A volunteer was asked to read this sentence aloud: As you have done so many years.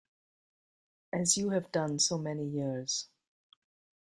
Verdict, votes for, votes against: accepted, 2, 0